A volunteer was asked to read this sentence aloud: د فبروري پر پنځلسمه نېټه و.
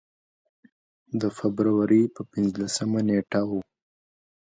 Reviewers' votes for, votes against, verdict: 2, 0, accepted